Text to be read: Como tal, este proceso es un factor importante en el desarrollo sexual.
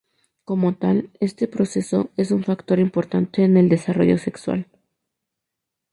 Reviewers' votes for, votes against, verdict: 2, 0, accepted